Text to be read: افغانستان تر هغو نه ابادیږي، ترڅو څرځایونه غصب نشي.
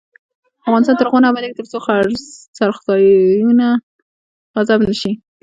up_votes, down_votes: 2, 0